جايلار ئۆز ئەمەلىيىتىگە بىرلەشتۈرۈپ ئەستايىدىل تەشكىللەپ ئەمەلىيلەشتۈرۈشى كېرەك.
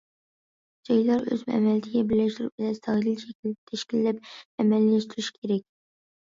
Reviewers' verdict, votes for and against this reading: rejected, 0, 2